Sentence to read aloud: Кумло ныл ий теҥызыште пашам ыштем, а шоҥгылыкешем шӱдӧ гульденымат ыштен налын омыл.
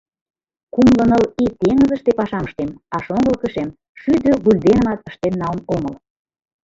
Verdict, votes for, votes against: rejected, 0, 2